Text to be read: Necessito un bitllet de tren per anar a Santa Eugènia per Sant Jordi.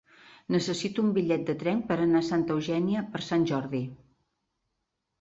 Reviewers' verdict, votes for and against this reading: accepted, 4, 0